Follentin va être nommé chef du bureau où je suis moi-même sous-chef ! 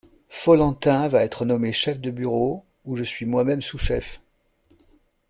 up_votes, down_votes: 1, 2